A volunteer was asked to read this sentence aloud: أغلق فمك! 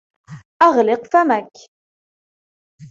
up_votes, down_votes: 2, 0